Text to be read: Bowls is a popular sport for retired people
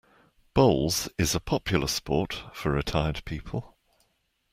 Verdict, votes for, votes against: accepted, 2, 1